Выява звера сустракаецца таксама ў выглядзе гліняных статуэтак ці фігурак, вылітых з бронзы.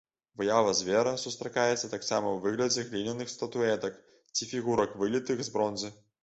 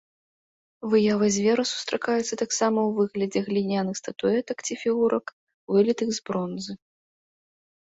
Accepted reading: second